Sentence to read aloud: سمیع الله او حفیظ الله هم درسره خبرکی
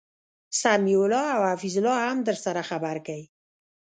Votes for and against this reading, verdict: 1, 2, rejected